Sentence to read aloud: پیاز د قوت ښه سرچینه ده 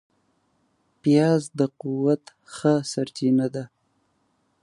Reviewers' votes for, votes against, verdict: 7, 0, accepted